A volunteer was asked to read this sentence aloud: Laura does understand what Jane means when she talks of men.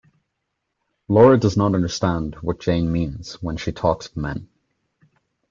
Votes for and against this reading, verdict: 1, 2, rejected